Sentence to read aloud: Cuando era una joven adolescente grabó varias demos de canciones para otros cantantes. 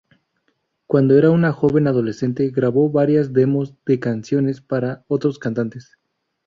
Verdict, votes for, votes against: accepted, 2, 0